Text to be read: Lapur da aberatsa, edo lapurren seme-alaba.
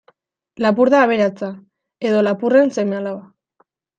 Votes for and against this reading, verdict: 2, 0, accepted